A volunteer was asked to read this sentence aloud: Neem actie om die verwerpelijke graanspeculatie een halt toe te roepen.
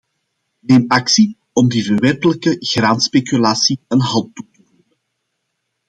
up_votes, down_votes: 0, 2